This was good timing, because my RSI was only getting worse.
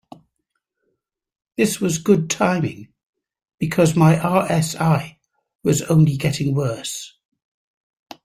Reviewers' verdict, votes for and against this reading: accepted, 2, 0